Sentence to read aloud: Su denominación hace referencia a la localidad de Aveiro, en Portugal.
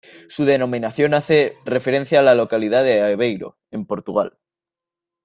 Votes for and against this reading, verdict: 2, 0, accepted